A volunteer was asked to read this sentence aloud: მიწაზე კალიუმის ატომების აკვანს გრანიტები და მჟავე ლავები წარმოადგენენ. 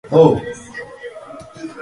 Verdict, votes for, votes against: accepted, 5, 3